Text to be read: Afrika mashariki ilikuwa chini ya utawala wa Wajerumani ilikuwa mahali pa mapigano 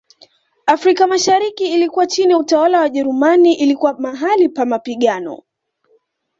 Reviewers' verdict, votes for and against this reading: accepted, 2, 0